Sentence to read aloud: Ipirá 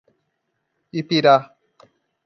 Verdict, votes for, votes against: accepted, 2, 0